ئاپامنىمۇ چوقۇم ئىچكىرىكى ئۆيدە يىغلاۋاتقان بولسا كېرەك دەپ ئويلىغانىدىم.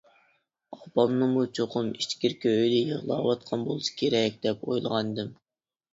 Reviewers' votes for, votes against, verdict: 1, 2, rejected